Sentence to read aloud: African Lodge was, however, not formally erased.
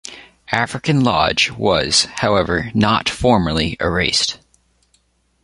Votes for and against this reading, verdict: 0, 2, rejected